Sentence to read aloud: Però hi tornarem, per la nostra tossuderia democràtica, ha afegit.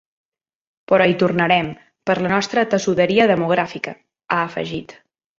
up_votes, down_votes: 1, 3